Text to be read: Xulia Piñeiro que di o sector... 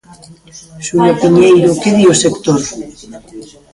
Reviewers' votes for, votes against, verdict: 0, 2, rejected